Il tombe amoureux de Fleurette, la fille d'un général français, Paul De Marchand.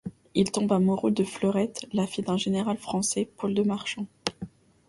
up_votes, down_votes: 2, 0